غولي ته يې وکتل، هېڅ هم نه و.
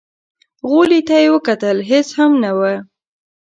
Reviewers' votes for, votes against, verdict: 2, 0, accepted